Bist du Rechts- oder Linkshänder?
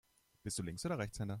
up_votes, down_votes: 1, 2